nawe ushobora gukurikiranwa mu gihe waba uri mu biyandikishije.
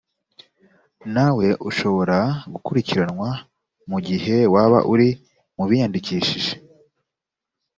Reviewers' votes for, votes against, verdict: 2, 0, accepted